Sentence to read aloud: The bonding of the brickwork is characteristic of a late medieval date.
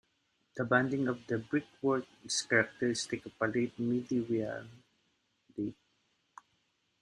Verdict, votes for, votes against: rejected, 0, 2